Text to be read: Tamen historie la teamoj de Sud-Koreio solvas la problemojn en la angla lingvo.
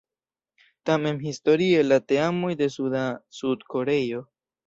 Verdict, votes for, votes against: rejected, 0, 2